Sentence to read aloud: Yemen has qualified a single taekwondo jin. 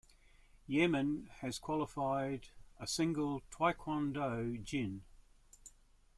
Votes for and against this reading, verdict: 2, 0, accepted